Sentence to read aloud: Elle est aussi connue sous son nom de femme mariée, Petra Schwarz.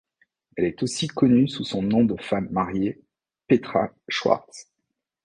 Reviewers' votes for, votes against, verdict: 2, 0, accepted